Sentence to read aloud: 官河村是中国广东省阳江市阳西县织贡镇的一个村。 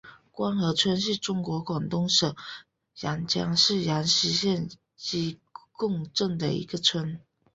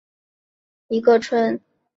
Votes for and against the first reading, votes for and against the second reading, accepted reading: 2, 0, 1, 2, first